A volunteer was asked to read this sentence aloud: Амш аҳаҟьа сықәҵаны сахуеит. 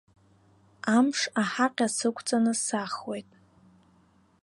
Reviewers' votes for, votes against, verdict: 2, 0, accepted